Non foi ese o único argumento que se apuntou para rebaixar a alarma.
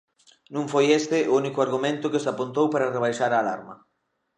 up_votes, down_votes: 0, 2